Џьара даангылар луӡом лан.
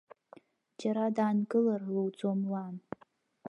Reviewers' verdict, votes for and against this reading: rejected, 1, 2